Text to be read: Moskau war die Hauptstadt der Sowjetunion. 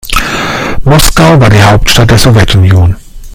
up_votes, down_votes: 2, 1